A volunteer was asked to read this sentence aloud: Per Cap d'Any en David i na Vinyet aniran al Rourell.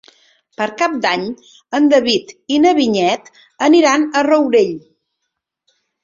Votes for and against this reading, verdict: 1, 2, rejected